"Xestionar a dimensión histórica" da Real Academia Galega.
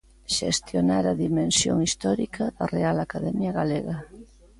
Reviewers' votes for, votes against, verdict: 2, 0, accepted